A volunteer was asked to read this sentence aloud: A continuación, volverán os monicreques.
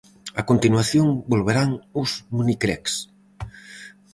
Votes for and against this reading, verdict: 2, 2, rejected